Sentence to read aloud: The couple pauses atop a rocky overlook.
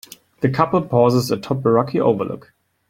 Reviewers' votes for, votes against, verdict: 2, 0, accepted